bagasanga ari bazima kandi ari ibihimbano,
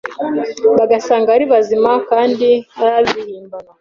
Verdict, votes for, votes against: accepted, 2, 0